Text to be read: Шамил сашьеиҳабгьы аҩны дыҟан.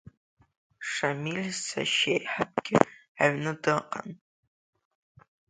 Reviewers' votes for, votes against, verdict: 2, 0, accepted